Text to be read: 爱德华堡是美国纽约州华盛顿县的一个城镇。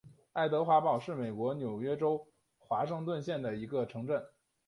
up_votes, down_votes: 0, 2